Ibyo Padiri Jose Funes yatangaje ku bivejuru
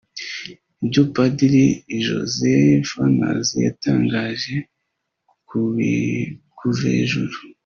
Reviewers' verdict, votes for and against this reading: rejected, 1, 2